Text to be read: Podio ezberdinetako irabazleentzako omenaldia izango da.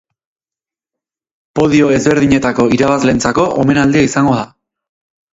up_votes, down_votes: 6, 0